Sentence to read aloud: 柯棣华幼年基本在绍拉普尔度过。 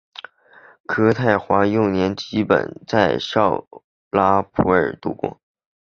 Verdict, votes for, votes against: accepted, 2, 1